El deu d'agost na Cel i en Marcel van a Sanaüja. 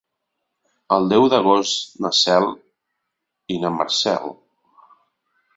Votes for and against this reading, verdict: 0, 2, rejected